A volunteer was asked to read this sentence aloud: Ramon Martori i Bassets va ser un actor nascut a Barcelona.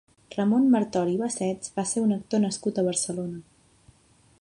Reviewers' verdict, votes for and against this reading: accepted, 2, 0